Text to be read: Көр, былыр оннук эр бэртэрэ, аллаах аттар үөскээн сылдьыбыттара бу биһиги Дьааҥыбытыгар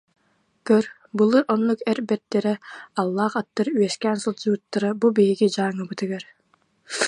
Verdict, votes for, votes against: rejected, 0, 2